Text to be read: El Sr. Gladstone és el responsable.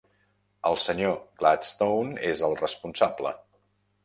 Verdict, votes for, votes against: rejected, 0, 2